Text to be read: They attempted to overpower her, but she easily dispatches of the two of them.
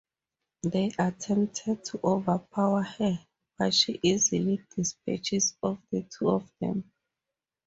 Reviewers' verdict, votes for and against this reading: accepted, 4, 0